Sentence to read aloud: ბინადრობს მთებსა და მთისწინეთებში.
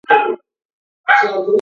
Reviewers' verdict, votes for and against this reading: rejected, 0, 2